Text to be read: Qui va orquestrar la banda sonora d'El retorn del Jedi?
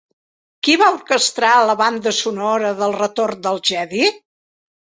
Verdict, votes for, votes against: accepted, 2, 0